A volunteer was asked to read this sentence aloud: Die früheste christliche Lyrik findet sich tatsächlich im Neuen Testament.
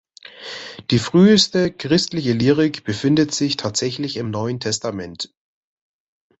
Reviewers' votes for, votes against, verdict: 1, 2, rejected